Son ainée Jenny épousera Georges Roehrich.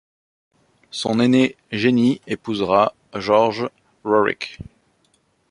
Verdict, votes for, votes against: rejected, 1, 2